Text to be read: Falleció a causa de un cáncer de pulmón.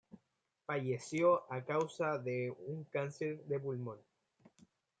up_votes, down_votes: 2, 0